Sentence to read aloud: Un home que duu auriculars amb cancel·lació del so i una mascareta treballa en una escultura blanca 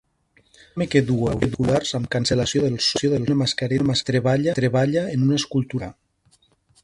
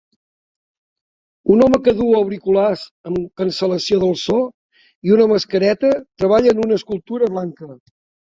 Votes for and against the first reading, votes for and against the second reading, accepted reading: 1, 3, 2, 0, second